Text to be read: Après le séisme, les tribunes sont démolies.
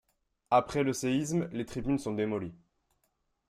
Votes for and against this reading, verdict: 3, 0, accepted